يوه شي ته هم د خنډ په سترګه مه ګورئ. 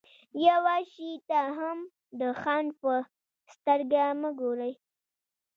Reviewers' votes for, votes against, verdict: 2, 1, accepted